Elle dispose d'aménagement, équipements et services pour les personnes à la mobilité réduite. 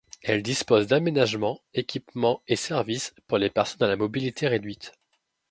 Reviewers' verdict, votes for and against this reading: accepted, 2, 0